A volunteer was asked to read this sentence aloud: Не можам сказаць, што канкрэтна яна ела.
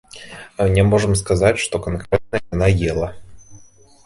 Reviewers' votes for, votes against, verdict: 1, 2, rejected